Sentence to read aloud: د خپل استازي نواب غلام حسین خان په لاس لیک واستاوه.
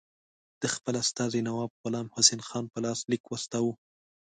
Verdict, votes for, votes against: accepted, 2, 0